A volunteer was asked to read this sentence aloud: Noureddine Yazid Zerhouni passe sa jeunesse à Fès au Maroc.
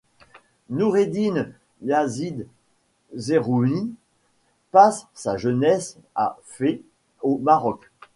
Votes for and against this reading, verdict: 1, 2, rejected